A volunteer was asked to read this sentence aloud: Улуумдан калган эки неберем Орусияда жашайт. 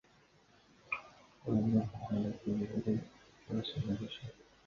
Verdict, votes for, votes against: rejected, 0, 2